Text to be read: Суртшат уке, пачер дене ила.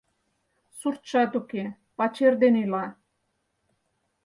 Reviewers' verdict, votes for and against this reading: accepted, 4, 0